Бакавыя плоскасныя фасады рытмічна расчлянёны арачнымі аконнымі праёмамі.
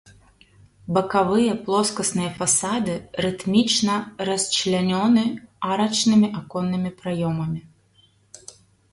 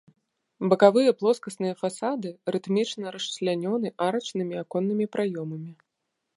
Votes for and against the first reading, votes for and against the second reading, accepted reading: 1, 2, 2, 0, second